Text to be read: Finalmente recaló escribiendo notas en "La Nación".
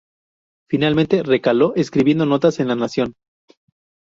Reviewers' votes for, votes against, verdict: 2, 0, accepted